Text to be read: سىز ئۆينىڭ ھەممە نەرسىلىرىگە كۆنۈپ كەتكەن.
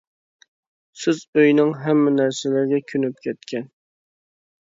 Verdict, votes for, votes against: accepted, 2, 0